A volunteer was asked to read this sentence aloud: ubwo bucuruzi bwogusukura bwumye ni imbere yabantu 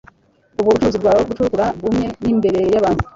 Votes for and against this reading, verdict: 0, 2, rejected